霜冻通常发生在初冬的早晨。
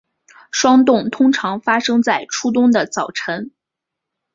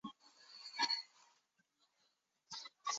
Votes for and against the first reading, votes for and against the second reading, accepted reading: 6, 1, 0, 4, first